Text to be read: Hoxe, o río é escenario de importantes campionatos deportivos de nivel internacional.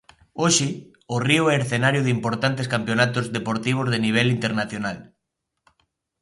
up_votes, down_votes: 2, 0